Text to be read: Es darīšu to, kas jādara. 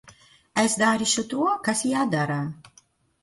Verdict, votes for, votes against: accepted, 2, 0